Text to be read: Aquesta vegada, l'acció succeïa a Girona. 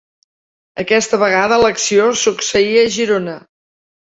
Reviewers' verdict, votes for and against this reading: accepted, 2, 0